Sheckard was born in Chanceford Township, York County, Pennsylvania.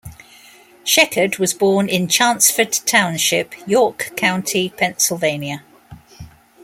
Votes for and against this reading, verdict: 2, 0, accepted